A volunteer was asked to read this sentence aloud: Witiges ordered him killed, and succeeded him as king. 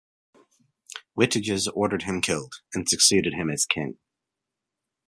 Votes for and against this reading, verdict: 2, 1, accepted